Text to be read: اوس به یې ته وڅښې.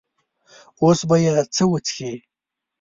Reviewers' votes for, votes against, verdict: 0, 2, rejected